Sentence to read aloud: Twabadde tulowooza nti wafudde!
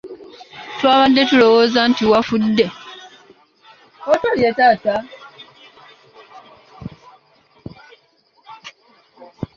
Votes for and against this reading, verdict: 0, 2, rejected